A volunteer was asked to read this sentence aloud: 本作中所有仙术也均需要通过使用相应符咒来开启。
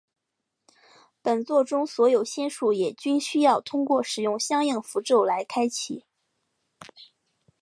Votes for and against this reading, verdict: 2, 0, accepted